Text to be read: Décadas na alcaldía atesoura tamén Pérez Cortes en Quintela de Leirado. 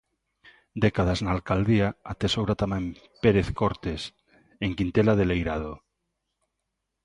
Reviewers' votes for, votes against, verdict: 2, 0, accepted